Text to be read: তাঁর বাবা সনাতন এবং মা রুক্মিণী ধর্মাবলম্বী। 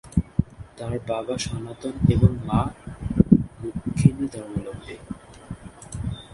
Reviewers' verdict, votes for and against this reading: rejected, 2, 10